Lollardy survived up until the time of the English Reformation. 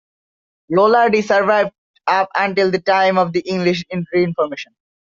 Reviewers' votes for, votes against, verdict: 0, 2, rejected